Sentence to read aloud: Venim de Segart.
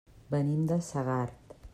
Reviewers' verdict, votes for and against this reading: accepted, 3, 1